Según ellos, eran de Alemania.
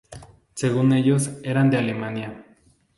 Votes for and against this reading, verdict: 4, 0, accepted